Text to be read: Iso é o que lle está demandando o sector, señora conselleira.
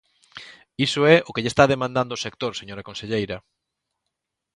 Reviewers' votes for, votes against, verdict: 2, 0, accepted